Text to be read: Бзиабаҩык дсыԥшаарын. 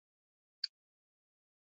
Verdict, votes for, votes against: rejected, 0, 2